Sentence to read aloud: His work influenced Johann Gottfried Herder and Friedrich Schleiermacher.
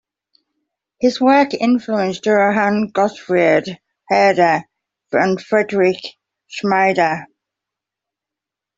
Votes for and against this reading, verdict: 1, 2, rejected